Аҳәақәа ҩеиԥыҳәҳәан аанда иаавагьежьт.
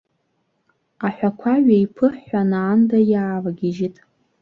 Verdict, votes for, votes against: accepted, 2, 0